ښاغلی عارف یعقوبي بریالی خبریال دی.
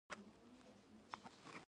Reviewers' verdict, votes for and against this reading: rejected, 1, 2